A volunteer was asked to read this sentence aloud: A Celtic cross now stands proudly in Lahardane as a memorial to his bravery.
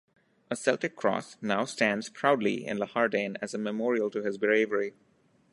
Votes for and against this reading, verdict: 0, 2, rejected